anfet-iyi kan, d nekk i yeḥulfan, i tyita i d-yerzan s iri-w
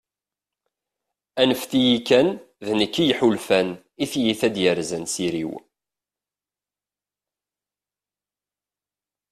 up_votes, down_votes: 2, 1